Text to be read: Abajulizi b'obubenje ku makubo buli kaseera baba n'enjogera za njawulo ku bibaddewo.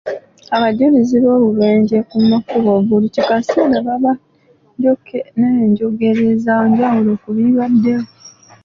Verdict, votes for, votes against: rejected, 0, 2